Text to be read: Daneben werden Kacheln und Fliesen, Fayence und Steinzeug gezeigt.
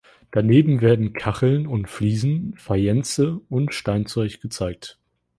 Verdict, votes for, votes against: accepted, 3, 0